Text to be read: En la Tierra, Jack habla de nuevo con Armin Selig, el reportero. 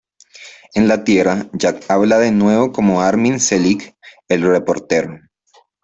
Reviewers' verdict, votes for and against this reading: accepted, 2, 0